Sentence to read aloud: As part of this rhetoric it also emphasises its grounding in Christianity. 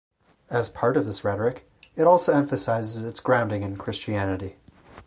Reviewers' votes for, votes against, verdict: 4, 0, accepted